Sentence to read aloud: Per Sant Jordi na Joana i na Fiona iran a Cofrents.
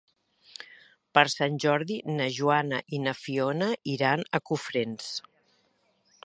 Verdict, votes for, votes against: accepted, 2, 1